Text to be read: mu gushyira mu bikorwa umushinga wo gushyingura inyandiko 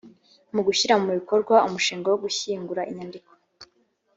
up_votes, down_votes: 3, 0